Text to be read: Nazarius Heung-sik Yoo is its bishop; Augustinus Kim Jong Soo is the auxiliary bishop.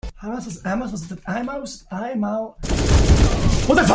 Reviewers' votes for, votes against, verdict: 0, 2, rejected